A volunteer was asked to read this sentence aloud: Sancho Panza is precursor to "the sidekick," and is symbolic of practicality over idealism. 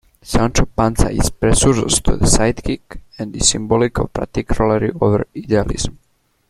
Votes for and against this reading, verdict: 1, 2, rejected